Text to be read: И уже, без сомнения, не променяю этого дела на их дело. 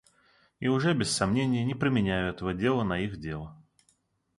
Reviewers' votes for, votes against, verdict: 2, 0, accepted